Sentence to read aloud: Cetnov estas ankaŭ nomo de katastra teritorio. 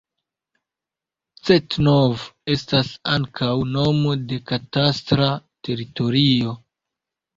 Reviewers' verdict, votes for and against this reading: rejected, 1, 2